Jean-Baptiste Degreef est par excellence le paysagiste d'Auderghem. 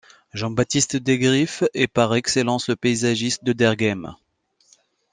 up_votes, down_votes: 2, 0